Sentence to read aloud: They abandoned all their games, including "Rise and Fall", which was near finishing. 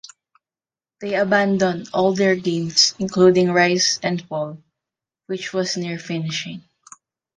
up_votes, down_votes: 2, 0